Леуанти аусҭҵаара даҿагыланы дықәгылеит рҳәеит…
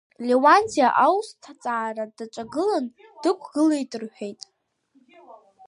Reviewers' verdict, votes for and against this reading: rejected, 0, 2